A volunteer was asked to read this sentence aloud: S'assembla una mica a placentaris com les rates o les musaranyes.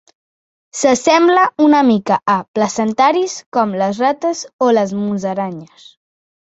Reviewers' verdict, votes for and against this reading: accepted, 2, 0